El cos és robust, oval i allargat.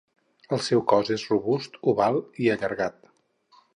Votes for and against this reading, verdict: 2, 2, rejected